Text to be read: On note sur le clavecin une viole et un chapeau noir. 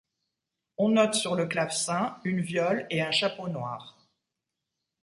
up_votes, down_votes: 2, 1